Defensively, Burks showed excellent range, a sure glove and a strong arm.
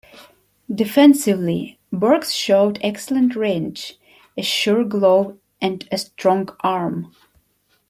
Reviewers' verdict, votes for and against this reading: accepted, 2, 1